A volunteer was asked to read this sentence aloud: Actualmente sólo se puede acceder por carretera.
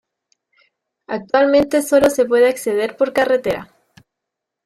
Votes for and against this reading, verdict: 2, 0, accepted